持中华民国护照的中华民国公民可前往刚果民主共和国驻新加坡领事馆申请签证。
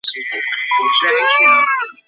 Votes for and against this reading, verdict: 1, 3, rejected